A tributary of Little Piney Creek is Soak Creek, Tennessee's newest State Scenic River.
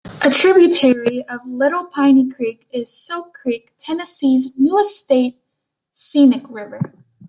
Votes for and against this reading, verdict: 1, 2, rejected